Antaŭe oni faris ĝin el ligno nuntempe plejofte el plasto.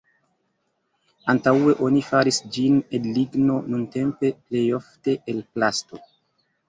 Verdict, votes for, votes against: accepted, 2, 0